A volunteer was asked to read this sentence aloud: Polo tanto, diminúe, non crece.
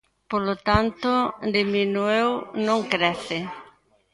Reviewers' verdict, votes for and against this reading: rejected, 0, 2